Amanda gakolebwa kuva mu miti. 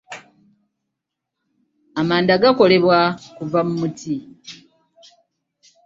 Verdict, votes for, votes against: rejected, 1, 2